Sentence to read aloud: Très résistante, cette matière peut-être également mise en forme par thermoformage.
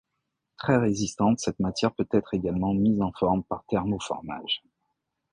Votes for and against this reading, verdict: 1, 2, rejected